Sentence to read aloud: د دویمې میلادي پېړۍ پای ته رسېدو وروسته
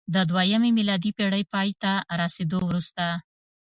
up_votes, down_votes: 1, 2